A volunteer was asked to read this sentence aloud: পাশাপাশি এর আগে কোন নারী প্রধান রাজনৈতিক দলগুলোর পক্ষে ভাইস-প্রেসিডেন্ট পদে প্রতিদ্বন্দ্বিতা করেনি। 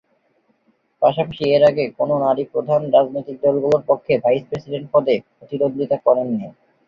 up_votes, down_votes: 6, 3